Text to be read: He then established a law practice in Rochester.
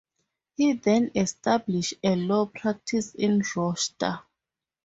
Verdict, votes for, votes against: rejected, 0, 2